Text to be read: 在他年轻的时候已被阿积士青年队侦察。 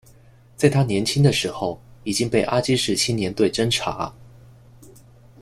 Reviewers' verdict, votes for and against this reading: rejected, 0, 2